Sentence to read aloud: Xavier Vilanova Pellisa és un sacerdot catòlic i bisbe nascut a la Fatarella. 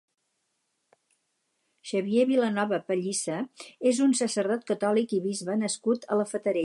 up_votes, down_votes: 2, 4